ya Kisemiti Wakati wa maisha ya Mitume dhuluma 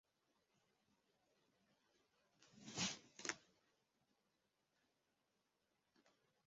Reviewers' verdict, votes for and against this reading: rejected, 0, 2